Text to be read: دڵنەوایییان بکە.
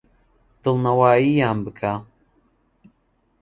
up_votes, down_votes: 2, 0